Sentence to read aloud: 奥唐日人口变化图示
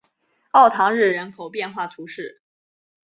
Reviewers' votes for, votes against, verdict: 2, 0, accepted